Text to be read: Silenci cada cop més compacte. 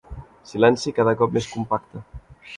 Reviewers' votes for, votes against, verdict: 4, 0, accepted